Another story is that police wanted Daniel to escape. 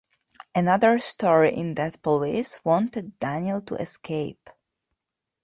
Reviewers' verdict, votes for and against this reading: rejected, 0, 2